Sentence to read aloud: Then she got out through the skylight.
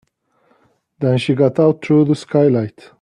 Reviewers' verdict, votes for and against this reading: accepted, 2, 1